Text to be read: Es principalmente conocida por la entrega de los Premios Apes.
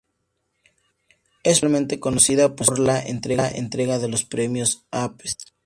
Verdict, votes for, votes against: rejected, 0, 2